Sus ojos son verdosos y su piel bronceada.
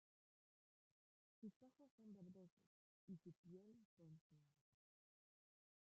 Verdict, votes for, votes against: rejected, 0, 2